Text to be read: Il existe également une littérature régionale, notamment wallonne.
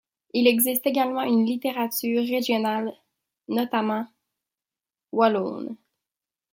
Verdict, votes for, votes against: rejected, 0, 2